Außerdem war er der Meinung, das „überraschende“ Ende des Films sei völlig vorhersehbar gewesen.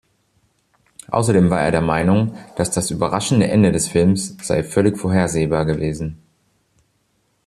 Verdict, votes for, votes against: rejected, 0, 2